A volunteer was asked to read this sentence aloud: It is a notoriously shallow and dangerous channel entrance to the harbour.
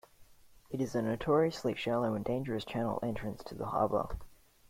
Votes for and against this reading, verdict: 2, 0, accepted